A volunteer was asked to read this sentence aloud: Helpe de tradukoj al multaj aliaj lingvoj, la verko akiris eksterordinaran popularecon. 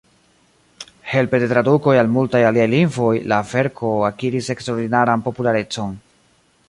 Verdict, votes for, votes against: accepted, 2, 1